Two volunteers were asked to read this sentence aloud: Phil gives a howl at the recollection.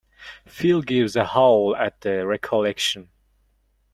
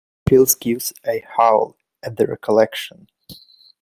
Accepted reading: first